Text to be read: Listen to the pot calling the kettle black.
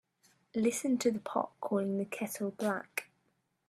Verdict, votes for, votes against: accepted, 2, 0